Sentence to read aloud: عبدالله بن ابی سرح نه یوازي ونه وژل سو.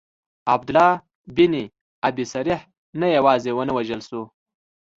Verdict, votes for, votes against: accepted, 2, 0